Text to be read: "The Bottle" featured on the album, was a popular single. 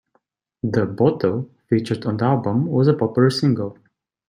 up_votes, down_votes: 2, 1